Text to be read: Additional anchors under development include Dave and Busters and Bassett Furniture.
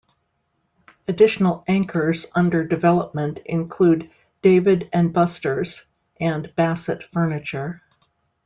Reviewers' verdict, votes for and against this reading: rejected, 1, 2